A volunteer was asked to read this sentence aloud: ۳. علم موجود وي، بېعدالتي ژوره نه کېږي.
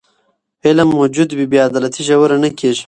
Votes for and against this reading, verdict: 0, 2, rejected